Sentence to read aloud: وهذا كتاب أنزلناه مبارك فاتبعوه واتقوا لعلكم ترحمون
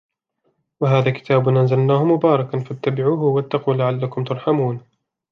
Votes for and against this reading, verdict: 2, 1, accepted